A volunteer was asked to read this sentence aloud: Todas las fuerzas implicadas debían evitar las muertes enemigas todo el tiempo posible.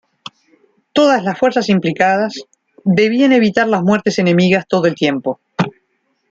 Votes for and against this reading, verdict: 0, 2, rejected